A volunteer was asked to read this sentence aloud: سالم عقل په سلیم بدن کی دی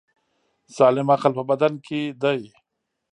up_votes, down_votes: 2, 3